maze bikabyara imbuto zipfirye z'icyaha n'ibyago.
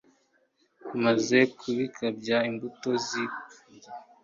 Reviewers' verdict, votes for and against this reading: rejected, 0, 2